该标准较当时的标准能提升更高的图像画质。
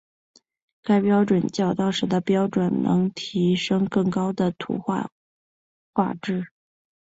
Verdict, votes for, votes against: rejected, 1, 2